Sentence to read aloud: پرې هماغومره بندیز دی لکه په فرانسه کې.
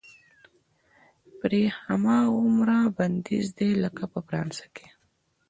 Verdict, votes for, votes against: accepted, 2, 0